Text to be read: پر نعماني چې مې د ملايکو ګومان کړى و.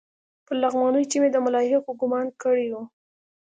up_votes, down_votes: 2, 1